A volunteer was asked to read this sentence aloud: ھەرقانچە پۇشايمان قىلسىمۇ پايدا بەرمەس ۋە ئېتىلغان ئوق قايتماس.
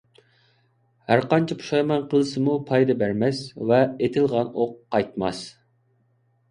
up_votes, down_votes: 2, 0